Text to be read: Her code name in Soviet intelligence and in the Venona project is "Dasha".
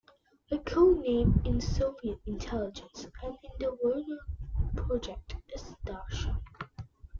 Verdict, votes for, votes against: rejected, 0, 2